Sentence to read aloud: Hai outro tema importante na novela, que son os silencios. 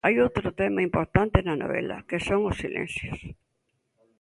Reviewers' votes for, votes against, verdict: 2, 0, accepted